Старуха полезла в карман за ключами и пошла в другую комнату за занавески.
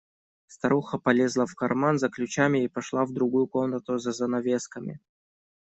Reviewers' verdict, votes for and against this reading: rejected, 0, 2